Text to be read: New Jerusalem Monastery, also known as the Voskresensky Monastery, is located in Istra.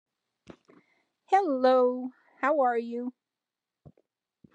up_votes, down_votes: 0, 2